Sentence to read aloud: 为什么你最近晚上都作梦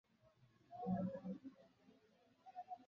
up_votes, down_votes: 0, 3